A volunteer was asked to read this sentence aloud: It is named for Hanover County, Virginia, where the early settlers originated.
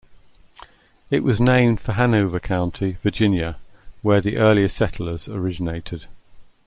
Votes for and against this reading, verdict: 0, 2, rejected